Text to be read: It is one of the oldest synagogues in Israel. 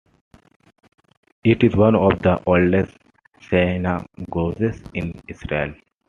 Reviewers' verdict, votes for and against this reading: accepted, 2, 1